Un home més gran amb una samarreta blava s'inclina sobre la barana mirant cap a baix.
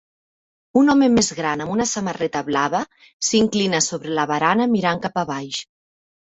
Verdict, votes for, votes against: accepted, 3, 0